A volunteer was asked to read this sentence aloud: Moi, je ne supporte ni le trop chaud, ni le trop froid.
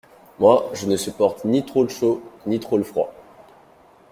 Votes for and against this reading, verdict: 0, 2, rejected